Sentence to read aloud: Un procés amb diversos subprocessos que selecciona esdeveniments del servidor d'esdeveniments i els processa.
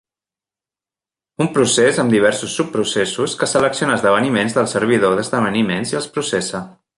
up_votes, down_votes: 2, 0